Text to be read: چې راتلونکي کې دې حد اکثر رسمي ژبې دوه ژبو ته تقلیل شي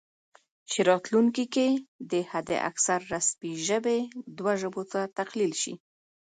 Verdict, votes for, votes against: accepted, 2, 0